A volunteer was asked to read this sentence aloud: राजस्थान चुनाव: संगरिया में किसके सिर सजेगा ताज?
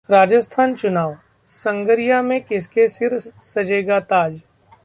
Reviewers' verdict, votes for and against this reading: rejected, 1, 2